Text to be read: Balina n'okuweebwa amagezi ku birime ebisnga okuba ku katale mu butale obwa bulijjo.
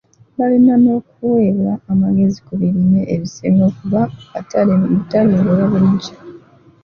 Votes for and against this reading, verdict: 1, 2, rejected